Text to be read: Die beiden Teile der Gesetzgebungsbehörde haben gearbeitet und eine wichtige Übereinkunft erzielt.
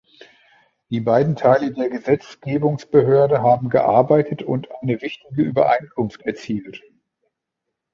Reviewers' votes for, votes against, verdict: 1, 2, rejected